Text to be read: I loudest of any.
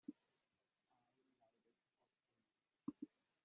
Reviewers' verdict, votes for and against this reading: rejected, 0, 2